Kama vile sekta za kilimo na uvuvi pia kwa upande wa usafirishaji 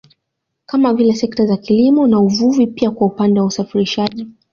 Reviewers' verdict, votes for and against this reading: accepted, 2, 0